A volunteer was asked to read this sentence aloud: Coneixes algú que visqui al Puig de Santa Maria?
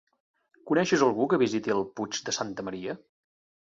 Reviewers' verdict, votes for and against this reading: rejected, 0, 3